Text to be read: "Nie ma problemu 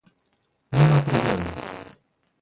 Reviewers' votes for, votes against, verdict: 1, 2, rejected